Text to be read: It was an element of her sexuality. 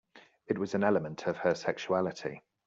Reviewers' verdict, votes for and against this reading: accepted, 2, 0